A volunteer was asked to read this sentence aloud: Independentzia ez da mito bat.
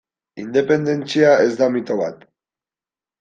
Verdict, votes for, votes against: accepted, 2, 0